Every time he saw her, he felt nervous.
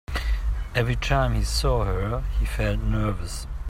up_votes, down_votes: 3, 0